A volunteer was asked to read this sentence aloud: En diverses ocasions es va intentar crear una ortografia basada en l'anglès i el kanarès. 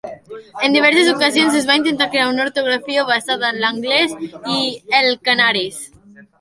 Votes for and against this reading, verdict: 1, 2, rejected